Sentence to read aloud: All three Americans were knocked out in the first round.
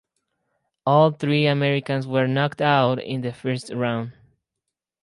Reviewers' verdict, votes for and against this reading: rejected, 2, 4